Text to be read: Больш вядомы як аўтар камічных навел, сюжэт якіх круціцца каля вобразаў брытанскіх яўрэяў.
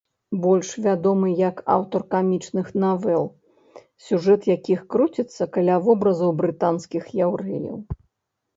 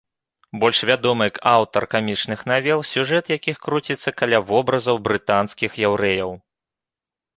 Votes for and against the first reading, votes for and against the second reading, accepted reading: 1, 2, 3, 0, second